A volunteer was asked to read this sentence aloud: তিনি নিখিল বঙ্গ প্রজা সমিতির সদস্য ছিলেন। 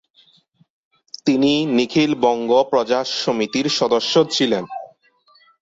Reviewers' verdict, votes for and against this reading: accepted, 2, 0